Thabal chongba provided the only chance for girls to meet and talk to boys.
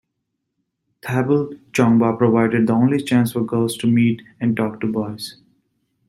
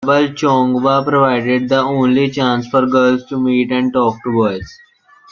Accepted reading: first